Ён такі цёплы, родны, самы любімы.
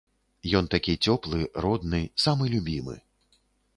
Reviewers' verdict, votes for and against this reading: accepted, 2, 0